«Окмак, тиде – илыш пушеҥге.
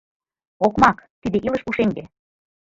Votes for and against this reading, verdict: 2, 0, accepted